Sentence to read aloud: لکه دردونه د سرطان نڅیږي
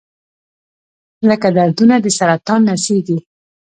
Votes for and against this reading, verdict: 0, 2, rejected